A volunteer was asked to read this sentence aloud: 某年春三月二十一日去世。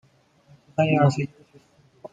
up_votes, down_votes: 0, 2